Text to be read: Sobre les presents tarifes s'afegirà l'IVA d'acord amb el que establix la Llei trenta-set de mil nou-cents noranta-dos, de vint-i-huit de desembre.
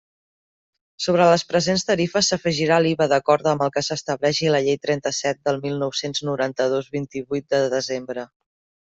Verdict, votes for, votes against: rejected, 0, 2